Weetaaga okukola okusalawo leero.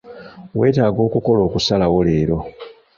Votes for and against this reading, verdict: 1, 2, rejected